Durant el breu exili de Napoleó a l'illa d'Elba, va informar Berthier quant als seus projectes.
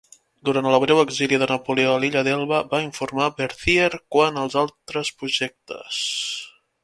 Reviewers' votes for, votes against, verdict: 0, 3, rejected